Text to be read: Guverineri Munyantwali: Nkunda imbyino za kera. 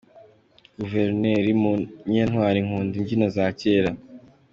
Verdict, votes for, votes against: accepted, 2, 0